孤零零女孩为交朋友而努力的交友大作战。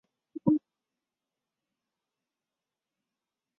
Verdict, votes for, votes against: rejected, 0, 5